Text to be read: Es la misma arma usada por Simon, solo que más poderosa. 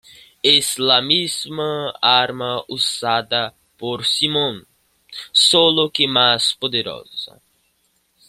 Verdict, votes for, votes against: accepted, 2, 0